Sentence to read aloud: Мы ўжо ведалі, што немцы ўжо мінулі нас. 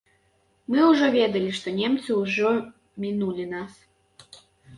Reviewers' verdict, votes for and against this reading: accepted, 3, 0